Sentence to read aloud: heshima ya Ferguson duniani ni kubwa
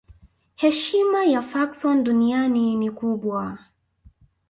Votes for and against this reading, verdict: 0, 2, rejected